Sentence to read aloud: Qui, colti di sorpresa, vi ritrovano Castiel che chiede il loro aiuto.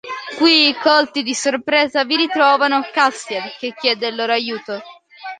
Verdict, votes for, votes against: accepted, 2, 0